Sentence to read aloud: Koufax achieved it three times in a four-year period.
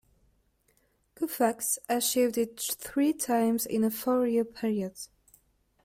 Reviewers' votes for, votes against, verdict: 1, 2, rejected